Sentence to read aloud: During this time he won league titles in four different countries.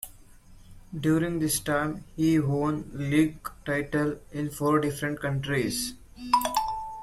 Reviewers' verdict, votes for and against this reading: accepted, 2, 1